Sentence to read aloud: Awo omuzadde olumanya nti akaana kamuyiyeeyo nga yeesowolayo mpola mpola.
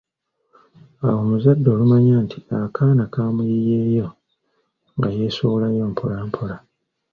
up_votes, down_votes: 2, 0